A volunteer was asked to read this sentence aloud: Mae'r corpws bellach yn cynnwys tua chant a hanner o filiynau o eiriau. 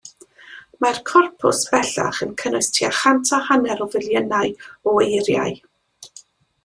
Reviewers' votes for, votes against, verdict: 2, 0, accepted